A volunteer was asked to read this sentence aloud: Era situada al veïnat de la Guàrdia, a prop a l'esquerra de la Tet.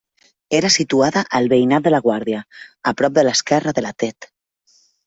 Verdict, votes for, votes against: accepted, 2, 0